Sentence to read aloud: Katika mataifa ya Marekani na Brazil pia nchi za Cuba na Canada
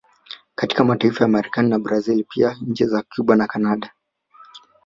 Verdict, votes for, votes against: rejected, 1, 2